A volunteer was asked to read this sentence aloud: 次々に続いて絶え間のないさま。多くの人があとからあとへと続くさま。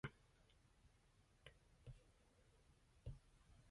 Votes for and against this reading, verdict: 1, 2, rejected